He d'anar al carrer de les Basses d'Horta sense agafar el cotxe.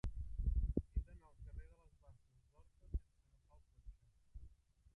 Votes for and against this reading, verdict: 0, 3, rejected